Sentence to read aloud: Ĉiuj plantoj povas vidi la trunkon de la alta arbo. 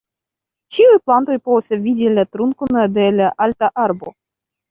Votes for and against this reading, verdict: 0, 2, rejected